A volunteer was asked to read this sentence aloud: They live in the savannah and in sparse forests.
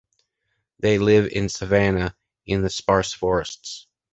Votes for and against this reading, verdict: 1, 2, rejected